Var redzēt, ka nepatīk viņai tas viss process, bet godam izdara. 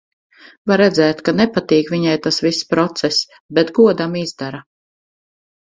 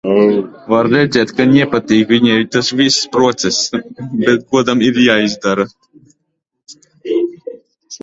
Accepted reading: first